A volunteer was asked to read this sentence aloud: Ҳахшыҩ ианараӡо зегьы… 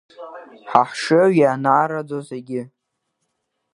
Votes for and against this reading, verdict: 0, 2, rejected